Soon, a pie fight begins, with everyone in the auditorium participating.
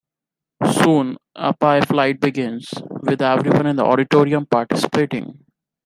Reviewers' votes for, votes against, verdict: 1, 2, rejected